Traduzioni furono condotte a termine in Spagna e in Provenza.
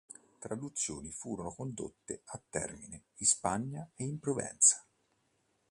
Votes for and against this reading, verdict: 2, 0, accepted